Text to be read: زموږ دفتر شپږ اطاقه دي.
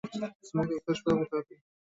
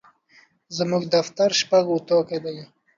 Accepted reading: second